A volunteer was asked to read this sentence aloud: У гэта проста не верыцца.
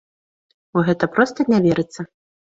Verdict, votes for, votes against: accepted, 2, 0